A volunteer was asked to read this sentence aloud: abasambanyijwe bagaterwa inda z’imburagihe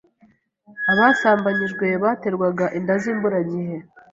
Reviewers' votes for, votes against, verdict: 1, 2, rejected